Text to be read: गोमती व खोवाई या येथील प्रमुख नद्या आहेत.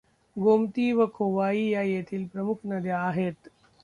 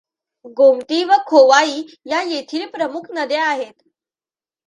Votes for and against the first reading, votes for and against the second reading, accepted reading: 1, 2, 2, 0, second